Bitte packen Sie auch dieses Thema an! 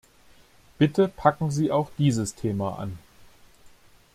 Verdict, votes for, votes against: accepted, 2, 0